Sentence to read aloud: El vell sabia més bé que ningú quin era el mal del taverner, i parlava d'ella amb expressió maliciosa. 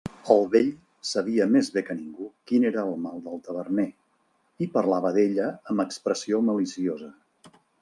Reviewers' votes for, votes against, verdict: 3, 0, accepted